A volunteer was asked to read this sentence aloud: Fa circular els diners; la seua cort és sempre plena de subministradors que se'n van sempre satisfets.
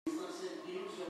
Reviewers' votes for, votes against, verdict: 0, 2, rejected